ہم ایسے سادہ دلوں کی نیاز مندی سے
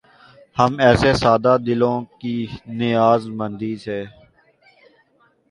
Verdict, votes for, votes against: accepted, 4, 0